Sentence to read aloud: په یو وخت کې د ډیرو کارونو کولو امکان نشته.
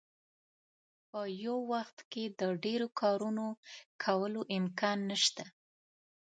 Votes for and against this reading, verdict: 2, 0, accepted